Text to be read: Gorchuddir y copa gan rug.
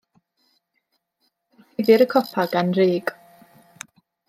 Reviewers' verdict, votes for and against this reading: rejected, 1, 2